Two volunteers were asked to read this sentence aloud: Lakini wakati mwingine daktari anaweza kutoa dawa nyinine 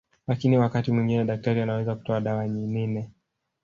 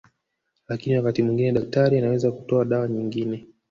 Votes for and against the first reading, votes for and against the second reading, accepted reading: 1, 2, 2, 1, second